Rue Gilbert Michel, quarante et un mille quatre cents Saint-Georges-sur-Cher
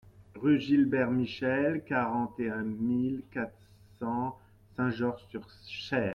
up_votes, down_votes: 1, 2